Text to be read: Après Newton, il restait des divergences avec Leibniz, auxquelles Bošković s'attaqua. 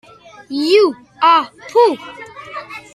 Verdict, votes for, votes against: rejected, 0, 2